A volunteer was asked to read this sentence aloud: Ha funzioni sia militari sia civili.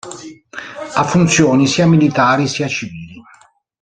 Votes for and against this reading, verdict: 2, 1, accepted